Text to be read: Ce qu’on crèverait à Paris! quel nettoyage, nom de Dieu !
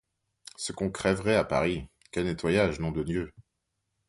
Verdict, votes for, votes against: accepted, 2, 0